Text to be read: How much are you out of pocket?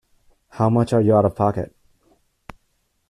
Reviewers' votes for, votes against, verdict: 2, 0, accepted